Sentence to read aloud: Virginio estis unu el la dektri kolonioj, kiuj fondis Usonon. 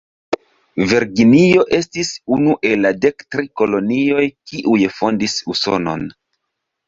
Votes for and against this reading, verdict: 1, 2, rejected